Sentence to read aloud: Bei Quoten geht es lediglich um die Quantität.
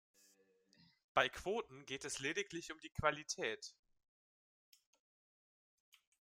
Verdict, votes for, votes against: rejected, 1, 2